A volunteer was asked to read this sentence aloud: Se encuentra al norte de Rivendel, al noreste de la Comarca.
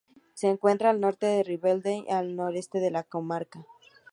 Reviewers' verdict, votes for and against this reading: rejected, 2, 2